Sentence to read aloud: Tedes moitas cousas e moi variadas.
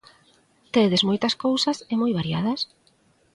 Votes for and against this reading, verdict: 2, 0, accepted